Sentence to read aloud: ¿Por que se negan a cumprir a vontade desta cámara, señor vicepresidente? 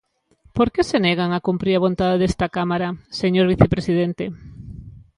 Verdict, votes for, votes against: accepted, 2, 0